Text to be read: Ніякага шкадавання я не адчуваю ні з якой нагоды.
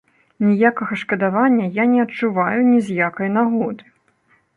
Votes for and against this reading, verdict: 0, 2, rejected